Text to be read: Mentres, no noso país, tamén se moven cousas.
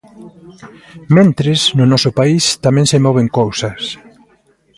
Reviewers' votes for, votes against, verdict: 0, 2, rejected